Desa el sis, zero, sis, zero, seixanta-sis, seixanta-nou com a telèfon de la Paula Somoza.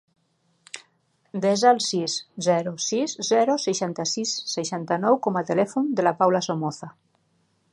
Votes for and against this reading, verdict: 4, 0, accepted